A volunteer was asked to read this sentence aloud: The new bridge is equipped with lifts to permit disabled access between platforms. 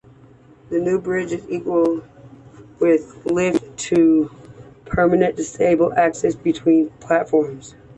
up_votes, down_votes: 1, 2